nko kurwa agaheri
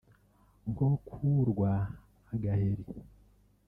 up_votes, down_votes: 1, 3